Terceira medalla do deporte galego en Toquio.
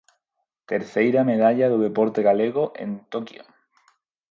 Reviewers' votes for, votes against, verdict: 4, 0, accepted